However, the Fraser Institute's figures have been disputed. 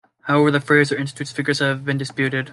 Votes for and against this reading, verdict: 2, 0, accepted